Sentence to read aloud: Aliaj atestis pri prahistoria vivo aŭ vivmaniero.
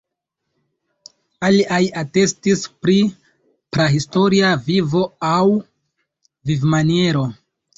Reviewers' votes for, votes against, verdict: 0, 2, rejected